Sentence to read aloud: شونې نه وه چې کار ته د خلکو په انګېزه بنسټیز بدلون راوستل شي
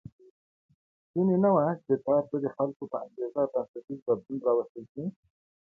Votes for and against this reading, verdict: 1, 2, rejected